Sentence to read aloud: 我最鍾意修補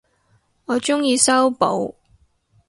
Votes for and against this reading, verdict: 2, 2, rejected